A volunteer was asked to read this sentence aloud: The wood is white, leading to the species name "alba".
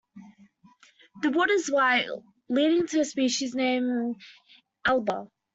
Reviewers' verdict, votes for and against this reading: accepted, 2, 1